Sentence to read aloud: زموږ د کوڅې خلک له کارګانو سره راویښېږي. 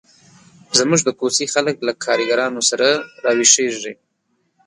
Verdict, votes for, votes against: accepted, 3, 0